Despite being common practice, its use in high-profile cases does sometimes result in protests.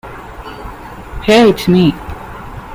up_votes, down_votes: 0, 2